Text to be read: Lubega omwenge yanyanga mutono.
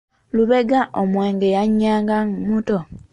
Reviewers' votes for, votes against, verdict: 0, 2, rejected